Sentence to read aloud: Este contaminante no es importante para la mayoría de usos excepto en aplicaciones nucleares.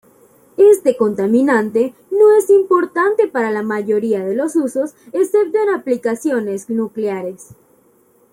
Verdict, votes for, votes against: rejected, 1, 2